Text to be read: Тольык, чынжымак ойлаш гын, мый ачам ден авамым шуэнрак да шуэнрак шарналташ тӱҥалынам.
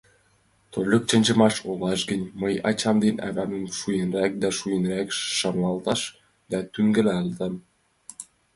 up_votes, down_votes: 0, 2